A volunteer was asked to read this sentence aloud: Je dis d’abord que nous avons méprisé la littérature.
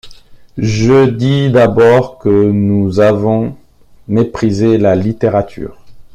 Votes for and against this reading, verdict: 2, 0, accepted